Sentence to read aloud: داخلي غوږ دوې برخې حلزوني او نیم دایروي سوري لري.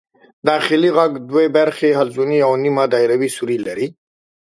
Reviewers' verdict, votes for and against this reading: accepted, 2, 0